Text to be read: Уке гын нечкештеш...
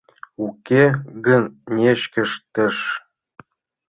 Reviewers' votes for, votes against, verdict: 2, 1, accepted